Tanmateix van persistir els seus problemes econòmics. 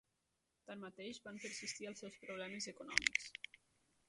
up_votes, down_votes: 1, 2